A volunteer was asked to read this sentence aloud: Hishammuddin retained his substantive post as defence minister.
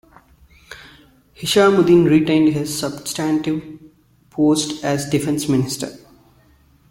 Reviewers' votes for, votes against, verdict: 2, 1, accepted